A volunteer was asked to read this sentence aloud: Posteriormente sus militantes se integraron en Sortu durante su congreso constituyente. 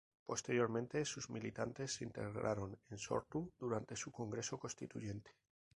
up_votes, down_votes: 2, 2